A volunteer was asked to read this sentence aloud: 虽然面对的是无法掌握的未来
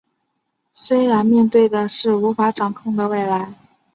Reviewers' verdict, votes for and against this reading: rejected, 0, 2